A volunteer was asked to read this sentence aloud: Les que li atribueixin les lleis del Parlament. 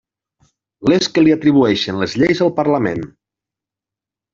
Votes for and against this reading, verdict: 0, 2, rejected